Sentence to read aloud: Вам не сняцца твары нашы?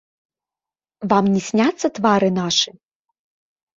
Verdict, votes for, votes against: accepted, 2, 0